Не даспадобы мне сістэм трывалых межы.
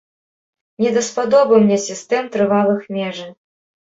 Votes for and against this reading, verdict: 2, 0, accepted